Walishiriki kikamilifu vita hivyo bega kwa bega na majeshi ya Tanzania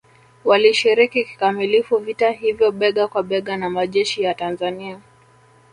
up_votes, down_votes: 1, 2